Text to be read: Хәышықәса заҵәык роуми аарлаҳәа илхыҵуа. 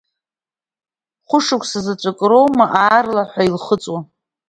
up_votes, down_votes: 1, 2